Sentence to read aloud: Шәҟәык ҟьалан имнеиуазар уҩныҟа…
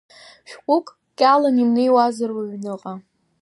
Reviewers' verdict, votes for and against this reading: accepted, 2, 0